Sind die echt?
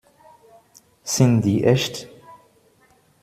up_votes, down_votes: 2, 1